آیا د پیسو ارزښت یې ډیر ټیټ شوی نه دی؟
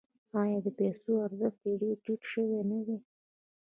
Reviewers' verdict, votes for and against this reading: rejected, 0, 2